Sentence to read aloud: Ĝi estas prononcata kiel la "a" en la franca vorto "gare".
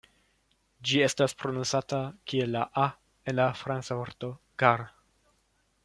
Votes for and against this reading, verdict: 0, 2, rejected